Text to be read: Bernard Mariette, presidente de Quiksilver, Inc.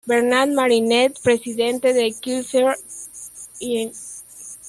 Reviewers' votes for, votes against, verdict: 1, 2, rejected